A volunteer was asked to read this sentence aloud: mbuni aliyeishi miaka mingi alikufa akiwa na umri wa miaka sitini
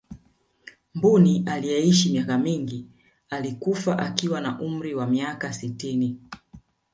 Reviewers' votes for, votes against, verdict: 3, 0, accepted